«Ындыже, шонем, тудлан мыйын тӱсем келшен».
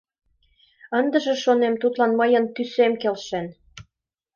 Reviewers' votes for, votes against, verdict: 2, 0, accepted